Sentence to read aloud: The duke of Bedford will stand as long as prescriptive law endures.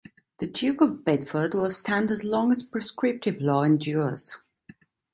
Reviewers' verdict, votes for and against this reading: accepted, 2, 0